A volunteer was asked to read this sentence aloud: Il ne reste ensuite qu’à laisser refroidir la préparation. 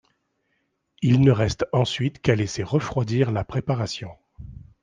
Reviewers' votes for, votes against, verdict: 2, 0, accepted